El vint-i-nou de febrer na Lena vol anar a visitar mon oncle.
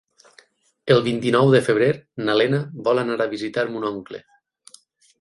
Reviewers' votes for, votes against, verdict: 12, 0, accepted